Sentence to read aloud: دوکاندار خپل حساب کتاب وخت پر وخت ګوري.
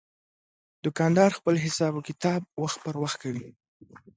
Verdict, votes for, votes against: accepted, 2, 0